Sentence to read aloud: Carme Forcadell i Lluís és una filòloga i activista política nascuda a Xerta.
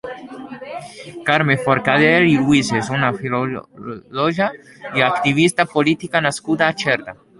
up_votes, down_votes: 1, 2